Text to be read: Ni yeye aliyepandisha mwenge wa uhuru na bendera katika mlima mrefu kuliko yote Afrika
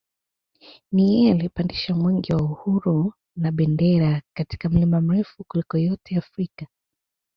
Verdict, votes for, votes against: accepted, 2, 0